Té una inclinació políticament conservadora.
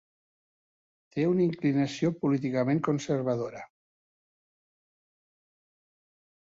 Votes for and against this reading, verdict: 2, 0, accepted